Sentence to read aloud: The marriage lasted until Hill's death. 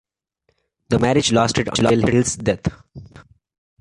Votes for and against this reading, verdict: 1, 2, rejected